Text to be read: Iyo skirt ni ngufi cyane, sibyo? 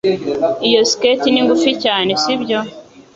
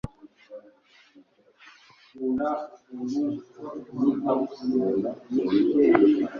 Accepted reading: first